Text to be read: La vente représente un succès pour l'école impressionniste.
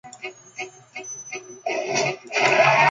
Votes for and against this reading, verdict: 0, 2, rejected